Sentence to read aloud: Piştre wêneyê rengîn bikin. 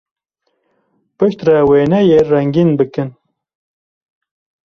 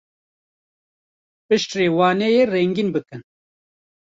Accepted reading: first